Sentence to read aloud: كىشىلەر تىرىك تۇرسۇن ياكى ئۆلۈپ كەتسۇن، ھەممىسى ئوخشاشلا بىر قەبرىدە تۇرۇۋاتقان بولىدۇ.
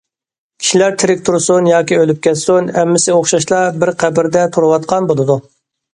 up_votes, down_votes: 2, 0